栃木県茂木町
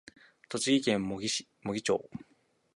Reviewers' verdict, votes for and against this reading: accepted, 3, 1